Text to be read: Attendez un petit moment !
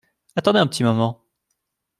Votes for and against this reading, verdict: 0, 2, rejected